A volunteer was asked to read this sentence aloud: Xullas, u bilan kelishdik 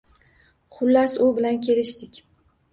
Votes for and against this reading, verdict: 2, 0, accepted